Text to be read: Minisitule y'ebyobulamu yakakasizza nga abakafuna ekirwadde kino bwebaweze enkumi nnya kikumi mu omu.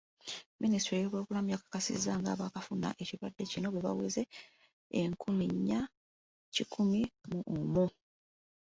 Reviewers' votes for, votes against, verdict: 2, 1, accepted